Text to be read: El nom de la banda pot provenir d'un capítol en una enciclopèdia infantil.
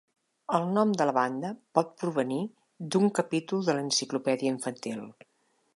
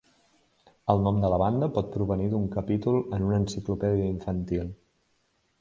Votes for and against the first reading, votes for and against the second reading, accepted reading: 0, 2, 2, 0, second